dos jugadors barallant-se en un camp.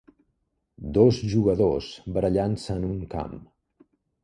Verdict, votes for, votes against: accepted, 2, 0